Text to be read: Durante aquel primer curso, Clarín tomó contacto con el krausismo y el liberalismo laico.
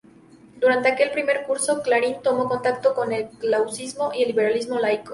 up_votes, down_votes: 0, 2